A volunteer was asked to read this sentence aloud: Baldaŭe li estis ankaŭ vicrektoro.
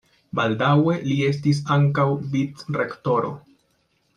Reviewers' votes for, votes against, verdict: 2, 0, accepted